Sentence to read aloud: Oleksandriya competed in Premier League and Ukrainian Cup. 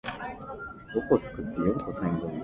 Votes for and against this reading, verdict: 0, 2, rejected